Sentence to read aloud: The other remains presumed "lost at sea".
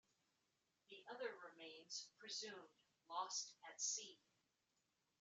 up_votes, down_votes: 2, 0